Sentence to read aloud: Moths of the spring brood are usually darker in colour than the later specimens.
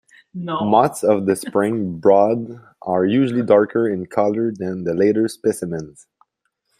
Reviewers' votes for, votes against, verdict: 0, 2, rejected